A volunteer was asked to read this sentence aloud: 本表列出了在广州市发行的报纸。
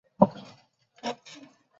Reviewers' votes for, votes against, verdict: 1, 4, rejected